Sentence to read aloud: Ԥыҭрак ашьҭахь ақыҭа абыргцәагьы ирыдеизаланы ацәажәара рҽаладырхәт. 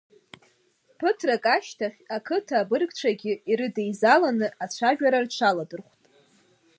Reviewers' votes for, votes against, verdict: 2, 0, accepted